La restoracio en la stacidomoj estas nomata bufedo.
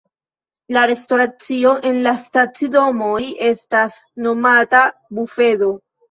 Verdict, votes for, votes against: rejected, 0, 2